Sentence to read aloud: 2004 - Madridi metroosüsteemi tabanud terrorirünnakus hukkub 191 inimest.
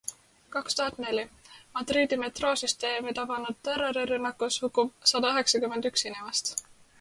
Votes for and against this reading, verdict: 0, 2, rejected